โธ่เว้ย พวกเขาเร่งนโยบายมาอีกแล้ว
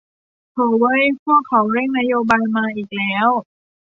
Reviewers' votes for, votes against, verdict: 2, 0, accepted